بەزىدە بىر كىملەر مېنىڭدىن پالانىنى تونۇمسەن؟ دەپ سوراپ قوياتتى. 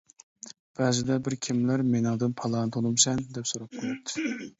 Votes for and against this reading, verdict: 1, 2, rejected